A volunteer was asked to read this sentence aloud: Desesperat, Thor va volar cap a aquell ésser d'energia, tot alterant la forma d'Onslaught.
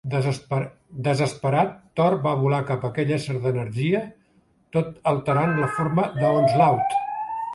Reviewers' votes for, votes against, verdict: 1, 2, rejected